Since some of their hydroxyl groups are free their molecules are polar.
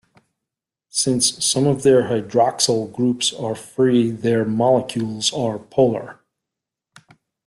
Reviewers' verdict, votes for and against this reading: rejected, 1, 2